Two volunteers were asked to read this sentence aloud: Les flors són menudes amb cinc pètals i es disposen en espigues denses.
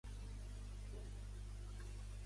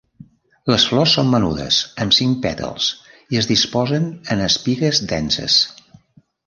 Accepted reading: second